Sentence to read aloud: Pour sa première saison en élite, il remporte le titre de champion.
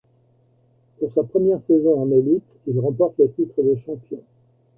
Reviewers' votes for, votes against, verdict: 2, 0, accepted